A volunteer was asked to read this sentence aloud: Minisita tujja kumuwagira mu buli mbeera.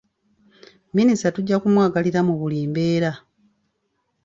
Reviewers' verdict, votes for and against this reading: rejected, 1, 2